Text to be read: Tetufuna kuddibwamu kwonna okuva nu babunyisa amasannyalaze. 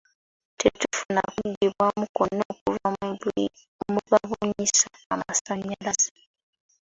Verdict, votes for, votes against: accepted, 2, 1